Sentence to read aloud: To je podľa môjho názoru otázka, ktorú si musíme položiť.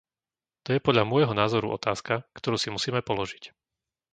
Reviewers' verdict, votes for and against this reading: accepted, 2, 0